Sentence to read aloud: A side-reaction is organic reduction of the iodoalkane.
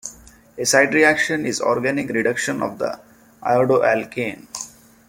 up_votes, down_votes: 2, 0